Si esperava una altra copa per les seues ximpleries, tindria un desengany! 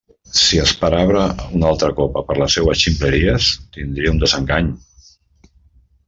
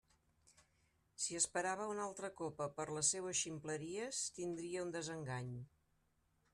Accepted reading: second